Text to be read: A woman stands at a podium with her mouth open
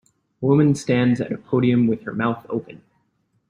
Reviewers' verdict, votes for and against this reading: accepted, 2, 0